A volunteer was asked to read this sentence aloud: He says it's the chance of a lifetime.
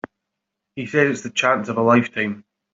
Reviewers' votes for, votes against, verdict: 0, 2, rejected